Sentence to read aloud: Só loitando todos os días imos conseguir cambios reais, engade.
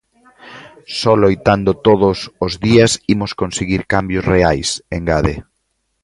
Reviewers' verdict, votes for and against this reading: accepted, 2, 0